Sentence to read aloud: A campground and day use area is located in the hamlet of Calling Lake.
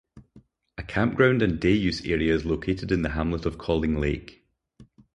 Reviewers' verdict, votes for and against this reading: accepted, 4, 0